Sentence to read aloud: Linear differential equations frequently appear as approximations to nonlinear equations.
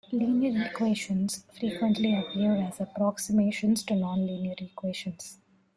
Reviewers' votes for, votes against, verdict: 1, 2, rejected